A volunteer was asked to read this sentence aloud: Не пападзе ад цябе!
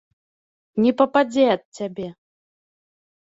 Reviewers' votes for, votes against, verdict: 2, 0, accepted